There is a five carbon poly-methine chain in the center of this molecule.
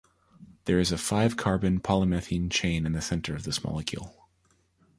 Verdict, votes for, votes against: accepted, 2, 0